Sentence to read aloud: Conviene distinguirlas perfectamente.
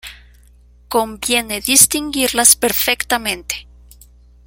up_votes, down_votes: 0, 2